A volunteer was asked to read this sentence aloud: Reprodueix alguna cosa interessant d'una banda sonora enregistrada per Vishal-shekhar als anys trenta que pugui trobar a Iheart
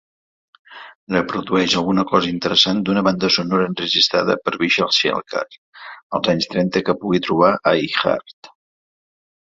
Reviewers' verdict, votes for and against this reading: accepted, 2, 0